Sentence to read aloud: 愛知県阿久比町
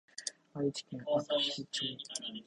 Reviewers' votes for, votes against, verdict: 3, 4, rejected